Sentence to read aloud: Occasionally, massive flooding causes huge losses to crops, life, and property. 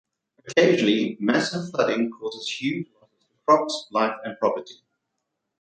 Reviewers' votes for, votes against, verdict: 0, 2, rejected